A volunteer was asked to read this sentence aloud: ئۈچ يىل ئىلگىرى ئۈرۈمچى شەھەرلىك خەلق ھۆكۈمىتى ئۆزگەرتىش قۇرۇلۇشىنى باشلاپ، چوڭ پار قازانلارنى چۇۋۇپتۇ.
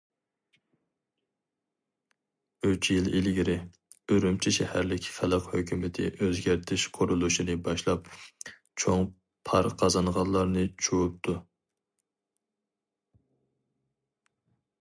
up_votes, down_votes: 0, 4